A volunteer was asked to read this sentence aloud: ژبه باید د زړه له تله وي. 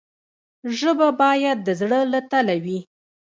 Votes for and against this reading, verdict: 1, 2, rejected